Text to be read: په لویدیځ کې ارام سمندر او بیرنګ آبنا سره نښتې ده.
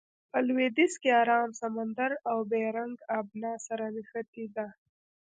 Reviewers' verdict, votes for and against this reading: rejected, 0, 2